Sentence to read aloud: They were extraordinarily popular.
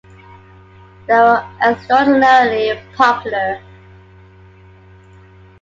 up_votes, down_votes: 2, 1